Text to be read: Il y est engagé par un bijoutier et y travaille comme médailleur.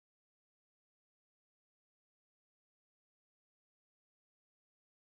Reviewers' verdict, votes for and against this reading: rejected, 0, 4